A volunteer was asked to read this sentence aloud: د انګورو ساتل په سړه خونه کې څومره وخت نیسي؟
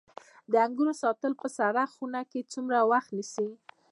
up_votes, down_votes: 2, 1